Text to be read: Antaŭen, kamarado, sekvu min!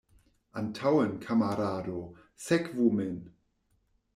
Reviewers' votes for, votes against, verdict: 2, 0, accepted